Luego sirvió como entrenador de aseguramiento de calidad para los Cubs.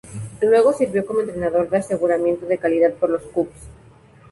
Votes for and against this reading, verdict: 0, 2, rejected